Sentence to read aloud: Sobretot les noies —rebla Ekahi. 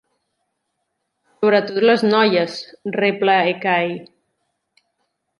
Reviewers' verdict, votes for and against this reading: rejected, 1, 2